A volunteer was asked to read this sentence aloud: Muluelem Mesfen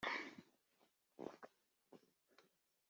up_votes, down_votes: 0, 3